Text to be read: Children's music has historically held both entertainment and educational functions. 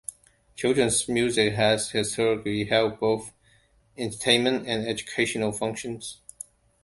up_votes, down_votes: 2, 0